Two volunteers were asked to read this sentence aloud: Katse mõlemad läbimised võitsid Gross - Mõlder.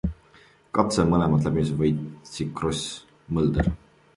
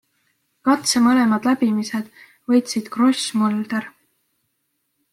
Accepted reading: second